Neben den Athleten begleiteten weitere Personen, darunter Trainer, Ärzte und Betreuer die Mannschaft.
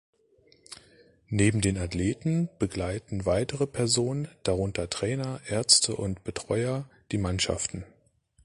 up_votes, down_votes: 1, 3